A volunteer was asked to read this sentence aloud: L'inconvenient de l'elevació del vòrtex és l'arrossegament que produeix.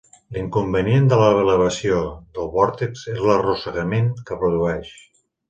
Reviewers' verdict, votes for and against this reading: rejected, 0, 2